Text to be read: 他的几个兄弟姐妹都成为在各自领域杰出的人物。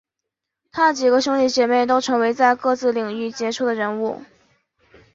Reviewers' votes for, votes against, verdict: 3, 0, accepted